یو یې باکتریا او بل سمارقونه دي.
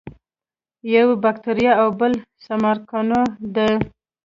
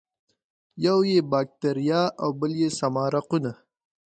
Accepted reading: first